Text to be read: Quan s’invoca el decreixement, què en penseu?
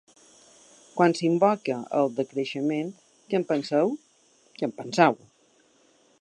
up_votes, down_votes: 1, 2